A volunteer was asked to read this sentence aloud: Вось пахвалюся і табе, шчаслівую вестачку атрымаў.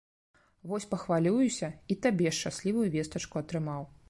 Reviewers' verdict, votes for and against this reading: rejected, 1, 2